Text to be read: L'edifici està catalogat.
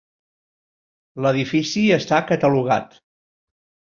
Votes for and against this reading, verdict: 3, 0, accepted